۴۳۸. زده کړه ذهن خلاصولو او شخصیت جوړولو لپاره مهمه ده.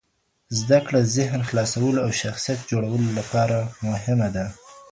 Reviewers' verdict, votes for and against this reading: rejected, 0, 2